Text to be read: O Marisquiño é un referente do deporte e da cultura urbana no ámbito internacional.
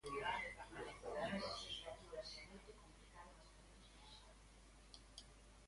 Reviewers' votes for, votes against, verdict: 1, 2, rejected